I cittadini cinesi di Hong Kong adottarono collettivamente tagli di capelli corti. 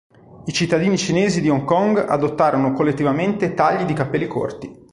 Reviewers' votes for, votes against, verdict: 3, 0, accepted